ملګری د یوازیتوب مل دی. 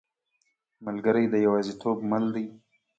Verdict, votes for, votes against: accepted, 2, 0